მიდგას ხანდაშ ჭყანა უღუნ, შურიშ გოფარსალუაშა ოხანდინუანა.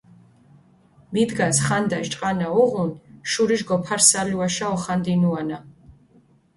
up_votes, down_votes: 2, 0